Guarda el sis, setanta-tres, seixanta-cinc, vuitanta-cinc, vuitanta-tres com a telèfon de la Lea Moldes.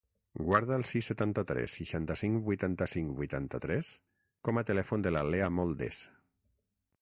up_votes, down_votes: 6, 0